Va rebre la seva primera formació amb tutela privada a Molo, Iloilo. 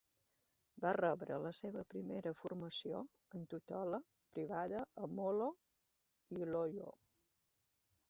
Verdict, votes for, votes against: rejected, 2, 4